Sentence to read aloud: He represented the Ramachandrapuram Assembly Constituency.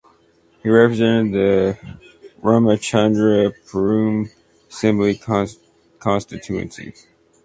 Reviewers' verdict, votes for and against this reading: rejected, 0, 2